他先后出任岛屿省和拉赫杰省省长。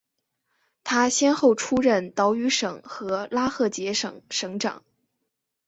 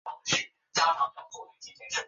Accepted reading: first